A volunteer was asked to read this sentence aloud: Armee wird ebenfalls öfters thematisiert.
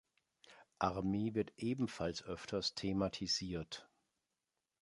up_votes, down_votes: 2, 0